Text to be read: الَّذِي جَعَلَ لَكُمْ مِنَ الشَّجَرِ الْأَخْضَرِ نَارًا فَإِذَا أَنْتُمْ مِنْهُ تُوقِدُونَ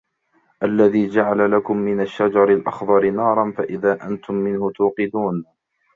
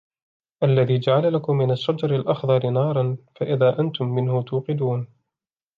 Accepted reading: second